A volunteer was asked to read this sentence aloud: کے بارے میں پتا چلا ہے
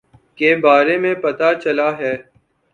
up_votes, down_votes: 2, 0